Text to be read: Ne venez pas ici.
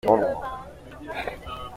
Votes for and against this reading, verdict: 0, 2, rejected